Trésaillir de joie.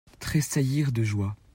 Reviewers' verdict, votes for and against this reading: accepted, 2, 0